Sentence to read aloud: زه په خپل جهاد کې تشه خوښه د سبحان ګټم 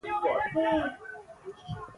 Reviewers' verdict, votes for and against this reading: rejected, 0, 2